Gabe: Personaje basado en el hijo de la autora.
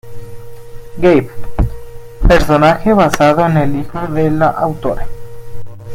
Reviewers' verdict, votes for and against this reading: accepted, 2, 1